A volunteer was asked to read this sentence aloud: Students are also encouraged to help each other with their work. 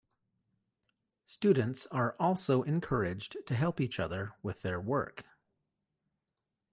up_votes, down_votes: 2, 0